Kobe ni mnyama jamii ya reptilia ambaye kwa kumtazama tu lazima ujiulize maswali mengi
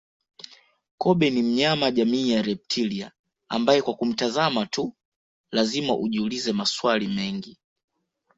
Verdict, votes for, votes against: accepted, 2, 1